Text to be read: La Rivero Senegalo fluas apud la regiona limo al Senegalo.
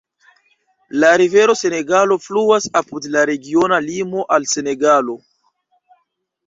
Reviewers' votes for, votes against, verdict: 2, 1, accepted